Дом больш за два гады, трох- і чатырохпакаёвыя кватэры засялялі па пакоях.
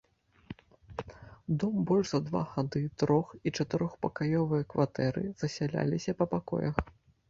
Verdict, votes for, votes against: rejected, 0, 2